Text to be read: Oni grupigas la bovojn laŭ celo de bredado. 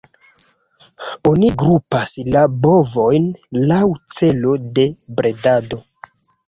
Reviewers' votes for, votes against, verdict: 1, 2, rejected